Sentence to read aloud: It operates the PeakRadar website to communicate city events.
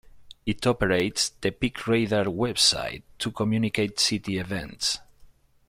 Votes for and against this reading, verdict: 2, 1, accepted